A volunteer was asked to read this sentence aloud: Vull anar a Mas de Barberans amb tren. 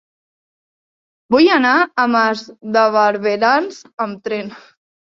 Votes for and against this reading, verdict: 3, 0, accepted